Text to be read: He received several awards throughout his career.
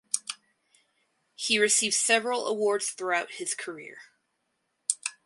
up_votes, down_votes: 4, 0